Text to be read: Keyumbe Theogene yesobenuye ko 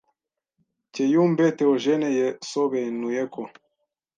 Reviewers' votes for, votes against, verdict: 1, 2, rejected